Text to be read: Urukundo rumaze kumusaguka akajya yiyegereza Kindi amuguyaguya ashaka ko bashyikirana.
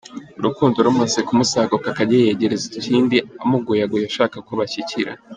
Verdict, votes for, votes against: rejected, 0, 2